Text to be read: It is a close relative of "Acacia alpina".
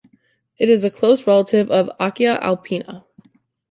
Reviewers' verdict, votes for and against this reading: accepted, 2, 1